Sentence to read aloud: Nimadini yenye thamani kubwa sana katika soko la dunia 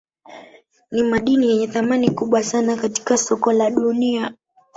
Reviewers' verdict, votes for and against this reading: accepted, 4, 1